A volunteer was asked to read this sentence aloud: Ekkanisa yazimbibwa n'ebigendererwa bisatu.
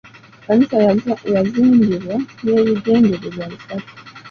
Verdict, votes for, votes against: accepted, 2, 0